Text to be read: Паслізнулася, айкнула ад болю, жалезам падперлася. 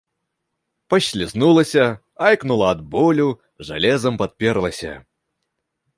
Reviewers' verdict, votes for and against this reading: accepted, 2, 0